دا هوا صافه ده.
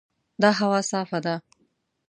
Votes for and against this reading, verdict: 2, 0, accepted